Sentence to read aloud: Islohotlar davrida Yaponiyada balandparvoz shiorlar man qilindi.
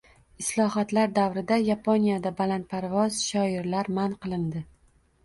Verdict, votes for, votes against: rejected, 1, 2